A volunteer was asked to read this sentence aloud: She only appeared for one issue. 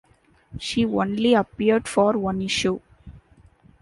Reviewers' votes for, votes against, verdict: 2, 0, accepted